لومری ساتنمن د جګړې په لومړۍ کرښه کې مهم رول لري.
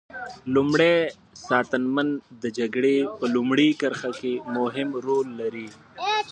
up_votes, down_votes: 3, 0